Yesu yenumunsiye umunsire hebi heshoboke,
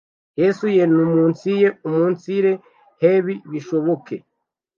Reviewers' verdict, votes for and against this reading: rejected, 0, 2